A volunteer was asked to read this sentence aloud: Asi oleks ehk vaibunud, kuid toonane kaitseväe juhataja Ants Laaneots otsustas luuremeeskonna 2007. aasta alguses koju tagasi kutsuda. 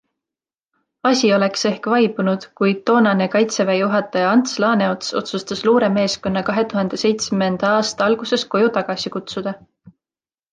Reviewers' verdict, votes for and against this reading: rejected, 0, 2